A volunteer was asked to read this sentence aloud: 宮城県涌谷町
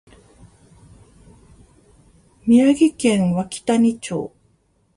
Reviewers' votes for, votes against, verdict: 2, 0, accepted